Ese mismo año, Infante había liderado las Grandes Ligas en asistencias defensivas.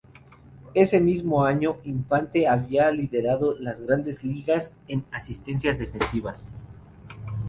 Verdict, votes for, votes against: rejected, 2, 2